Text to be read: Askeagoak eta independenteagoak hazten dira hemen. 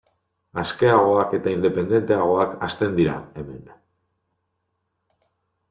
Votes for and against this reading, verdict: 0, 2, rejected